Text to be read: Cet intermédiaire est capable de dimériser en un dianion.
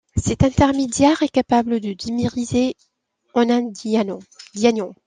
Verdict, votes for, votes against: rejected, 0, 2